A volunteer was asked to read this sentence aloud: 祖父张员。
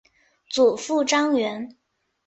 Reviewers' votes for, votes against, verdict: 3, 0, accepted